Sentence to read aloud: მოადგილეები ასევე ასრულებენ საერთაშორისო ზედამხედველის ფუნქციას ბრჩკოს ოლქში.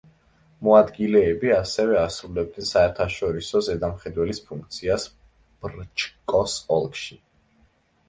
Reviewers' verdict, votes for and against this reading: rejected, 0, 2